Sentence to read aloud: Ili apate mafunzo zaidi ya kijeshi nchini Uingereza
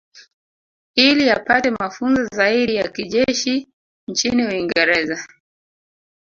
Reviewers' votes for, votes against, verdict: 1, 2, rejected